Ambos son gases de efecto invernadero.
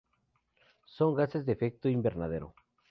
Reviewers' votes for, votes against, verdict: 0, 4, rejected